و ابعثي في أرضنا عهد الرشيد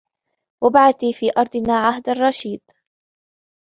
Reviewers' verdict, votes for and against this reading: accepted, 2, 0